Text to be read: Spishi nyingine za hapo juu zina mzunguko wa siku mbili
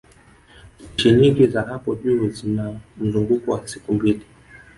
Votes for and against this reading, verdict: 2, 4, rejected